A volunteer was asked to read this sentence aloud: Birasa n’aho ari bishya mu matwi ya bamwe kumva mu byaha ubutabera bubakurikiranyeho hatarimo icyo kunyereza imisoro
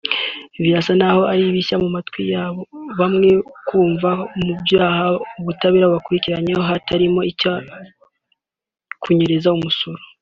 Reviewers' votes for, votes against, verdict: 1, 2, rejected